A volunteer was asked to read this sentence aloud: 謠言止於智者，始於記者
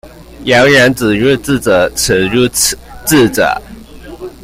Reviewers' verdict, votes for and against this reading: rejected, 1, 2